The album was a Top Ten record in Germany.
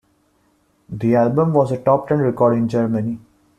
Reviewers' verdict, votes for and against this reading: accepted, 2, 0